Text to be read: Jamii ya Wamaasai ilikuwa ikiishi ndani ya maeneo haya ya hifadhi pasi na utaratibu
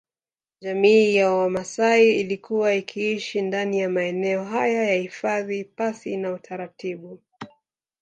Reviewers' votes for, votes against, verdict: 8, 1, accepted